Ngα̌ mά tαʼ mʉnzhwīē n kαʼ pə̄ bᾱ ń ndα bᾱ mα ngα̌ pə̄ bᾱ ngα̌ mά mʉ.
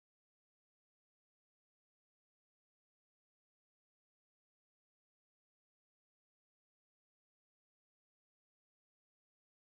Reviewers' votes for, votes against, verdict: 1, 2, rejected